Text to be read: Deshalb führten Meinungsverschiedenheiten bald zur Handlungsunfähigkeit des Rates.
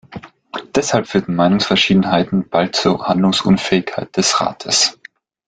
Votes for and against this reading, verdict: 0, 2, rejected